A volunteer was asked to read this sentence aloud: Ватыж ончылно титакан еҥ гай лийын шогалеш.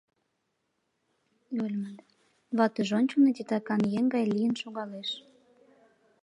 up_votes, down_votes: 0, 3